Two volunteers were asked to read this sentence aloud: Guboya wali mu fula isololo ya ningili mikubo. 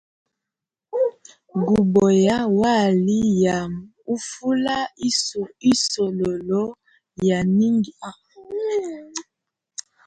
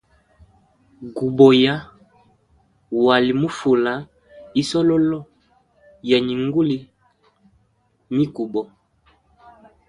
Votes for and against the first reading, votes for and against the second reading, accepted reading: 0, 5, 2, 0, second